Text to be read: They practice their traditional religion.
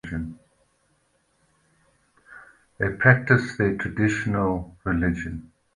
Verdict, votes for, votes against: accepted, 2, 0